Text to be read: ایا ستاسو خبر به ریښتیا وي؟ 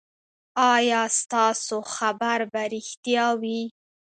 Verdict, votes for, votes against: accepted, 2, 0